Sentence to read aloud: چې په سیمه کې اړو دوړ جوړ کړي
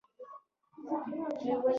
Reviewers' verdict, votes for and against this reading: rejected, 1, 2